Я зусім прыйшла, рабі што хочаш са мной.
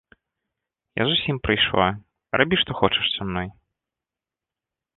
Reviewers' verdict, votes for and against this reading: accepted, 2, 0